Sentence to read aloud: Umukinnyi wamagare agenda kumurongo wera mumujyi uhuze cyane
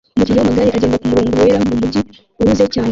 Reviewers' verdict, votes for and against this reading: rejected, 0, 2